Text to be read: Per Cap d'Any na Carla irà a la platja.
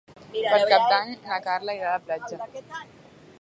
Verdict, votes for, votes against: rejected, 2, 4